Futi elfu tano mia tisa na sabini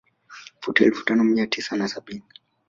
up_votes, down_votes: 2, 0